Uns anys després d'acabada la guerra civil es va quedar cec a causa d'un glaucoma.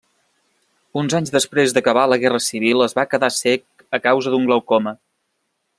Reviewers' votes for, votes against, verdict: 0, 2, rejected